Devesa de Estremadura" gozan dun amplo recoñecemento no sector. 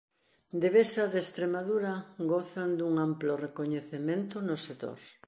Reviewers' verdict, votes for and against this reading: accepted, 2, 0